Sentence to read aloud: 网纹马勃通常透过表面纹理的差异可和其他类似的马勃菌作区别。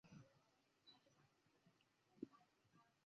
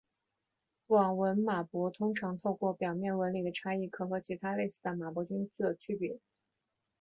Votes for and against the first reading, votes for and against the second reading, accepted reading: 1, 3, 5, 0, second